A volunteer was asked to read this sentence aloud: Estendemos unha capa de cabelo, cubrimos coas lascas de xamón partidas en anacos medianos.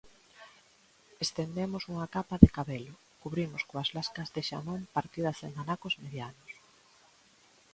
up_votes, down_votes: 2, 1